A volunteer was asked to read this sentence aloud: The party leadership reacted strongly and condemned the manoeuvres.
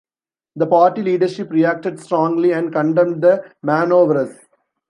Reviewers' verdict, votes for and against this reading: rejected, 1, 2